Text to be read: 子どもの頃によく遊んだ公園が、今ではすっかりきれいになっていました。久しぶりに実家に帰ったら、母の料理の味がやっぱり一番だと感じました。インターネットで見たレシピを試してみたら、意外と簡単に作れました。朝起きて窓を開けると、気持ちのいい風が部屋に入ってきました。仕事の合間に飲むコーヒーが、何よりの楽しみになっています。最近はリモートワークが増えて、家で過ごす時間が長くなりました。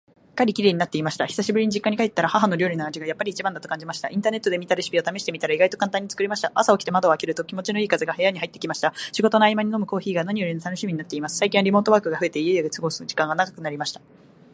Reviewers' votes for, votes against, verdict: 1, 2, rejected